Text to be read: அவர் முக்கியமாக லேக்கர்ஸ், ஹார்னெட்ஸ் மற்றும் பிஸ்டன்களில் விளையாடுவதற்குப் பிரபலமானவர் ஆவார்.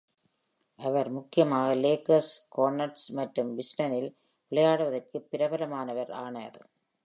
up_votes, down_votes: 0, 2